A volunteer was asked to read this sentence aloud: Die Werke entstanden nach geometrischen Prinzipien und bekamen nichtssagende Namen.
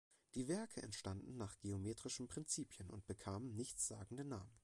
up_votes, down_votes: 1, 2